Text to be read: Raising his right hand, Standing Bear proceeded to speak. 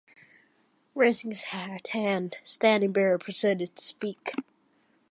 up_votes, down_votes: 2, 0